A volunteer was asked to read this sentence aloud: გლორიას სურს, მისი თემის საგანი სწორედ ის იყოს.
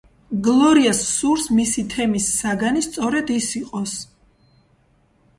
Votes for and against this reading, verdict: 1, 2, rejected